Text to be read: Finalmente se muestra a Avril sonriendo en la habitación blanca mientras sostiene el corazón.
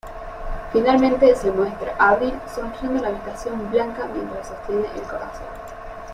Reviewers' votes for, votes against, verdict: 0, 2, rejected